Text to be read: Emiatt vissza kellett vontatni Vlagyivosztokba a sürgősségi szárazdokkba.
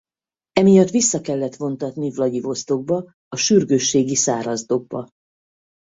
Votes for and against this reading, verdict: 4, 0, accepted